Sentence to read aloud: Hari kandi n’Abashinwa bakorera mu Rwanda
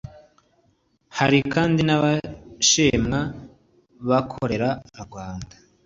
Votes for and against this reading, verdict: 2, 0, accepted